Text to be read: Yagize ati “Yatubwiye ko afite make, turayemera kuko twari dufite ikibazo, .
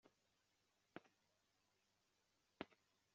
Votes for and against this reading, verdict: 0, 2, rejected